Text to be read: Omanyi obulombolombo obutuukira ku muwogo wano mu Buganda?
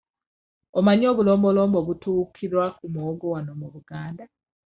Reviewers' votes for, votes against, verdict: 1, 2, rejected